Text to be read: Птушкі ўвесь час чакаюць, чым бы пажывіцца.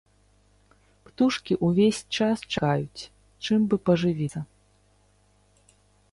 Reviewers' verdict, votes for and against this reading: rejected, 0, 2